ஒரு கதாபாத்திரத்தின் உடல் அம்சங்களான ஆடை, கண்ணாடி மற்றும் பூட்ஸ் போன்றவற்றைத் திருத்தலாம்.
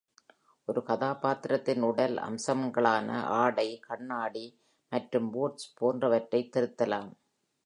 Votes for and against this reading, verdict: 3, 0, accepted